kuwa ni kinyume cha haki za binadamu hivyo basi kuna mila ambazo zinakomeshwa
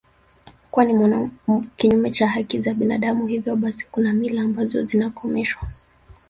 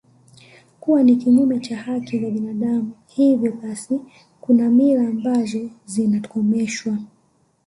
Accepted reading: second